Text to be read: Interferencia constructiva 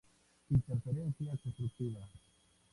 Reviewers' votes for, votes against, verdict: 0, 2, rejected